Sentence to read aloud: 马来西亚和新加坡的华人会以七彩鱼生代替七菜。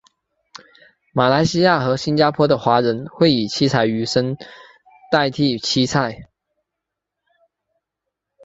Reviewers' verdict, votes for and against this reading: accepted, 4, 0